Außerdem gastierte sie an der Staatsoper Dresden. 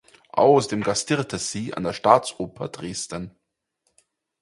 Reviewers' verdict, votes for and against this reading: rejected, 0, 4